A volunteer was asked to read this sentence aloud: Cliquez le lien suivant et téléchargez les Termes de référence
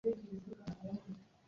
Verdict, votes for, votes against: rejected, 0, 2